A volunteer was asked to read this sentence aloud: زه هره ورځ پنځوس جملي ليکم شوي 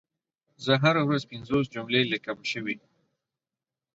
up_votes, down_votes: 4, 0